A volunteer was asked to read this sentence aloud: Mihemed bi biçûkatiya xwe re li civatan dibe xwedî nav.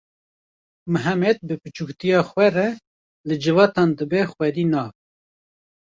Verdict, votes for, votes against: rejected, 1, 2